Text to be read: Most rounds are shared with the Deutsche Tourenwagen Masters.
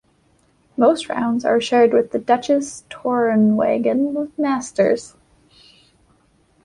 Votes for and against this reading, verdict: 2, 1, accepted